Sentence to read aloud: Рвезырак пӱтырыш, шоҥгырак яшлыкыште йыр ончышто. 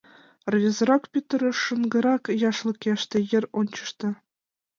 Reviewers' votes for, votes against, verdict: 1, 2, rejected